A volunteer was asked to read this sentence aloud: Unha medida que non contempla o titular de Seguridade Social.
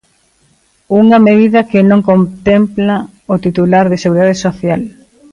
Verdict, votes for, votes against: rejected, 1, 2